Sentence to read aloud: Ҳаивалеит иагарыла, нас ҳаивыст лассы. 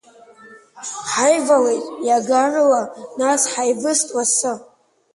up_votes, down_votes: 0, 3